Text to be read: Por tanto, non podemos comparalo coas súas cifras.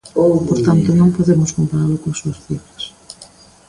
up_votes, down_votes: 1, 2